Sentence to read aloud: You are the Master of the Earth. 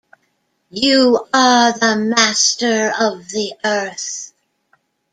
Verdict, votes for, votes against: accepted, 2, 1